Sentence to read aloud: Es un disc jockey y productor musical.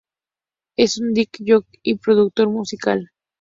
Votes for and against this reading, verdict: 4, 0, accepted